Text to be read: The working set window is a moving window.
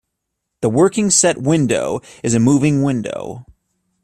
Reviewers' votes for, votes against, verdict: 2, 0, accepted